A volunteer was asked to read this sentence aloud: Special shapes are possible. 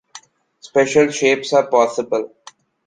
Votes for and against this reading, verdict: 2, 0, accepted